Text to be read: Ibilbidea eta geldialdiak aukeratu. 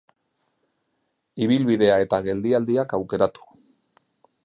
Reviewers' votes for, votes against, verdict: 3, 0, accepted